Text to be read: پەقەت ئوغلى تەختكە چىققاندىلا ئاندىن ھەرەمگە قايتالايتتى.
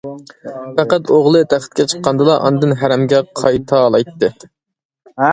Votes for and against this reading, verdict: 2, 0, accepted